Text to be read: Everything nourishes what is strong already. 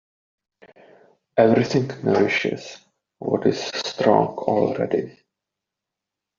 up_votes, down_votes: 2, 0